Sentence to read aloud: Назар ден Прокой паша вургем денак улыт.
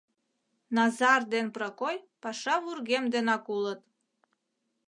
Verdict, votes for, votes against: accepted, 2, 0